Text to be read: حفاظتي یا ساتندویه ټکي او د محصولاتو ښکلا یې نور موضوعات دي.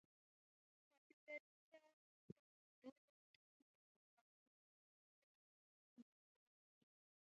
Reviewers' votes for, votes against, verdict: 1, 2, rejected